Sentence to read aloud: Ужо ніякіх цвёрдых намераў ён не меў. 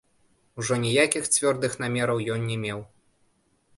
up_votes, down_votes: 0, 2